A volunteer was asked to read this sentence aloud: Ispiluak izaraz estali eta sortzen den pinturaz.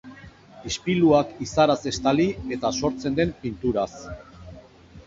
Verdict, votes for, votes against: rejected, 2, 2